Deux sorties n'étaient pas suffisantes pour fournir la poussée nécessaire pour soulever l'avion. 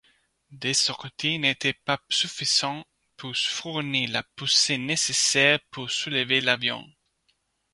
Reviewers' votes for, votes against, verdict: 1, 2, rejected